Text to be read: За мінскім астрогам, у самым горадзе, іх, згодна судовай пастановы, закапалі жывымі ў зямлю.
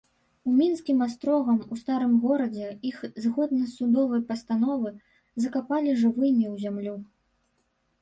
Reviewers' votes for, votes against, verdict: 1, 2, rejected